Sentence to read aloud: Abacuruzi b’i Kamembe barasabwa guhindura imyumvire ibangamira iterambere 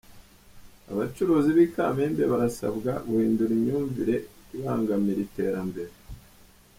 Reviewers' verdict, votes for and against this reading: rejected, 0, 2